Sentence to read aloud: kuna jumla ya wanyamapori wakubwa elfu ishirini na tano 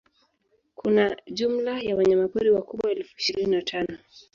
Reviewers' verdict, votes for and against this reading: accepted, 4, 0